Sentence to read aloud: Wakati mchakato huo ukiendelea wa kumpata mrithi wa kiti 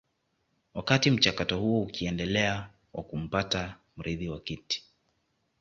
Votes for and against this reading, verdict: 2, 0, accepted